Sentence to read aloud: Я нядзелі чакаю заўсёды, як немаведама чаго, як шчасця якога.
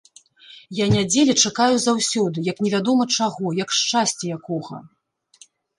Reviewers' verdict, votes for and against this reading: rejected, 1, 2